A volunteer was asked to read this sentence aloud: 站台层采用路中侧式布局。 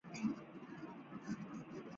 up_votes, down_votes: 5, 2